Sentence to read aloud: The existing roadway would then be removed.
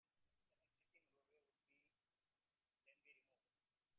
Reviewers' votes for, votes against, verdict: 0, 2, rejected